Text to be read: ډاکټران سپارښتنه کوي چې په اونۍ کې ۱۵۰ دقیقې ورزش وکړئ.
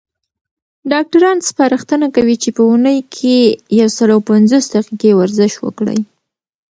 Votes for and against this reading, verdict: 0, 2, rejected